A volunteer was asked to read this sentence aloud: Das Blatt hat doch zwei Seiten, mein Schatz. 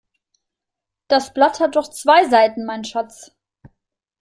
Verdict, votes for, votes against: accepted, 2, 0